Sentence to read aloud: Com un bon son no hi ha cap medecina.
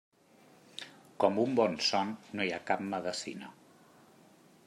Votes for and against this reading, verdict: 2, 0, accepted